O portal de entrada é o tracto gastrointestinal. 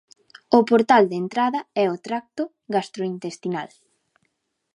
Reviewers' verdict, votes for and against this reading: accepted, 2, 0